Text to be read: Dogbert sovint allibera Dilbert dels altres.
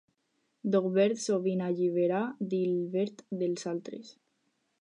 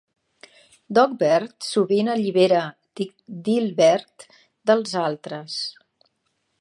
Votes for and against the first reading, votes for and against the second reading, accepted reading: 4, 0, 0, 2, first